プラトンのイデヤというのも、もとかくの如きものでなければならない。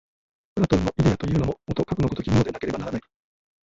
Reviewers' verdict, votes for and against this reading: rejected, 1, 2